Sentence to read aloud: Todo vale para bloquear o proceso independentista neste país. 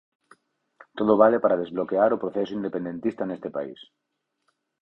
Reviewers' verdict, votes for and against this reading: rejected, 0, 4